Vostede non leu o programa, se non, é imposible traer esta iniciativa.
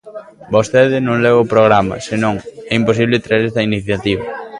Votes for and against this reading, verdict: 1, 2, rejected